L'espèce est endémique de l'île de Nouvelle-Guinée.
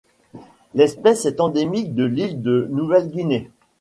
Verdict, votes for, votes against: accepted, 2, 1